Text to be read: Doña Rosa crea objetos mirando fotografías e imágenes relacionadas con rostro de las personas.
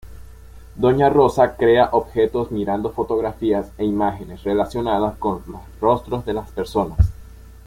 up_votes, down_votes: 1, 2